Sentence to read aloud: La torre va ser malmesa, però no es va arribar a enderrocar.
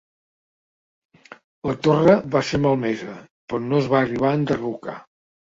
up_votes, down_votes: 2, 0